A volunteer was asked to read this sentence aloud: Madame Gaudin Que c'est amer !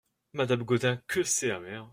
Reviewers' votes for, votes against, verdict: 2, 0, accepted